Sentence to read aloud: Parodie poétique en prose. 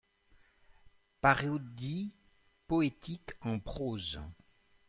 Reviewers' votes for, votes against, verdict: 0, 2, rejected